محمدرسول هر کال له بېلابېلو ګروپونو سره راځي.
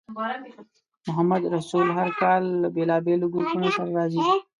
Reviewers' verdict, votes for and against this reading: rejected, 1, 2